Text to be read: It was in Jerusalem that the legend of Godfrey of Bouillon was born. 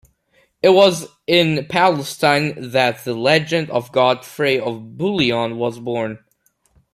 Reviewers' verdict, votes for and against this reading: rejected, 0, 2